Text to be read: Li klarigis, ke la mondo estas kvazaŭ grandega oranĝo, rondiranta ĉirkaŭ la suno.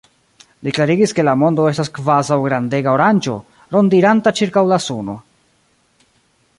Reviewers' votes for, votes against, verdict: 1, 2, rejected